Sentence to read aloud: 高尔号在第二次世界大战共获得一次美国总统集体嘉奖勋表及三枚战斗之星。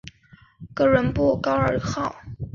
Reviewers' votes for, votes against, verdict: 1, 3, rejected